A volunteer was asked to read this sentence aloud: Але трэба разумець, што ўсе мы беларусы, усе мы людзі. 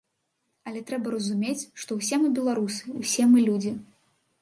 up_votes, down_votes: 2, 0